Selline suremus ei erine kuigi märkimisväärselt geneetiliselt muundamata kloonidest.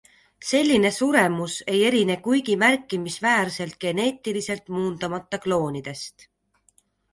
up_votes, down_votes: 2, 0